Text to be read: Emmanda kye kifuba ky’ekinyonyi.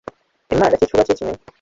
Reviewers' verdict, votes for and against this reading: rejected, 0, 3